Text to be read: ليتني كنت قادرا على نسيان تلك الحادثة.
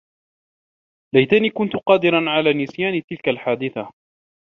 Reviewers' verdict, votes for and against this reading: accepted, 2, 0